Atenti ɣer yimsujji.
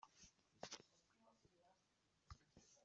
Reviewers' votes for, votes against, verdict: 0, 2, rejected